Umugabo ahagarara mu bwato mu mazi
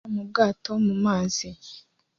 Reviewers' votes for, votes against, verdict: 1, 2, rejected